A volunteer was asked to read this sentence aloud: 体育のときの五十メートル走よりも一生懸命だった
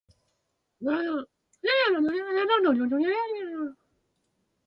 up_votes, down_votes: 0, 2